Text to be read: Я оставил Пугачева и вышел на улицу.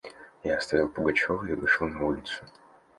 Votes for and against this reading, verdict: 2, 0, accepted